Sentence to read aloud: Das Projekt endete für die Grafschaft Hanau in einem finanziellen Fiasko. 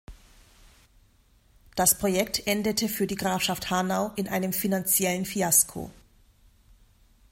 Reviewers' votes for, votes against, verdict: 2, 0, accepted